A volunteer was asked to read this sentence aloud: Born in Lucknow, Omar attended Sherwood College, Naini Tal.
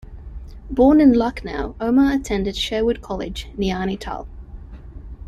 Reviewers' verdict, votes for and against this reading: accepted, 2, 0